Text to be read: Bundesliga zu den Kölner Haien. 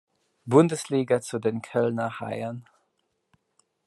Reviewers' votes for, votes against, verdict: 2, 0, accepted